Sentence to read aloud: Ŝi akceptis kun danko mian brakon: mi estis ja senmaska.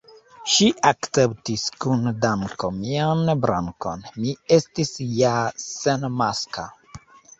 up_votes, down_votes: 1, 2